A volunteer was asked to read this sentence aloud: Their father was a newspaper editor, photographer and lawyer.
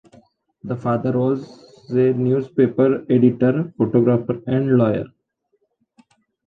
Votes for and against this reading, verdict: 2, 0, accepted